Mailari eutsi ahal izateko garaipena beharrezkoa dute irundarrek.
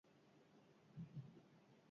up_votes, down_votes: 0, 4